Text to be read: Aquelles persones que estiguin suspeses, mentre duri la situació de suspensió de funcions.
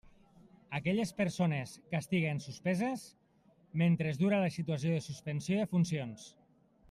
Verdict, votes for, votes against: rejected, 1, 2